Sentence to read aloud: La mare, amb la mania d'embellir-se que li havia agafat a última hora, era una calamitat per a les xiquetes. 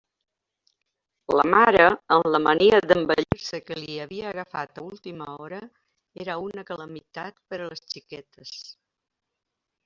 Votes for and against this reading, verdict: 2, 0, accepted